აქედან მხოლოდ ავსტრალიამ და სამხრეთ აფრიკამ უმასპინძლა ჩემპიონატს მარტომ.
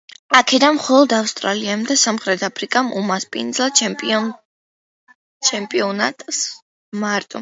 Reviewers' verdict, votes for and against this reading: rejected, 0, 2